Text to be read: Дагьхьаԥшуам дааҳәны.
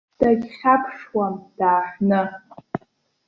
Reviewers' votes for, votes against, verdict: 2, 0, accepted